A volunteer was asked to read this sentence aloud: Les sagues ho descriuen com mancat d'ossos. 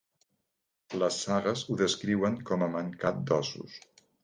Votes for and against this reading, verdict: 0, 2, rejected